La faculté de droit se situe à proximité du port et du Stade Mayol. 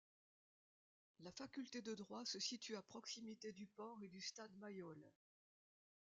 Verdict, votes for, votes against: rejected, 0, 2